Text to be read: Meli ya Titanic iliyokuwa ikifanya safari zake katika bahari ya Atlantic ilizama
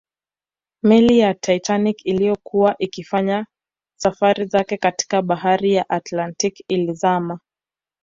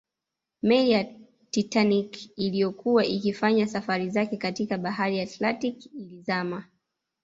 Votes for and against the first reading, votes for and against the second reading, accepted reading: 2, 0, 1, 2, first